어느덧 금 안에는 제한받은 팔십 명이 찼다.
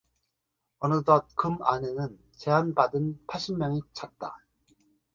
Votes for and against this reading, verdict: 2, 0, accepted